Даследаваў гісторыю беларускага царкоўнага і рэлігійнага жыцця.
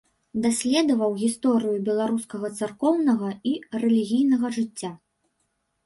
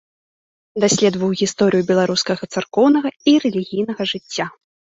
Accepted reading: second